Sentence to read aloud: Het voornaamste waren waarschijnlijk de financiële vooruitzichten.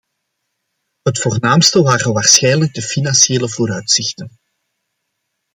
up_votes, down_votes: 2, 0